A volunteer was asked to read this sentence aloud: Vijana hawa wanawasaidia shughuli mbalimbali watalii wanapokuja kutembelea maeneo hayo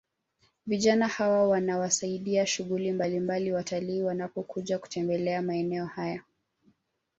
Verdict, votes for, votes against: rejected, 0, 2